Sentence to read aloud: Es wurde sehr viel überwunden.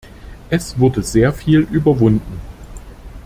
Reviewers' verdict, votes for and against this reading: accepted, 2, 0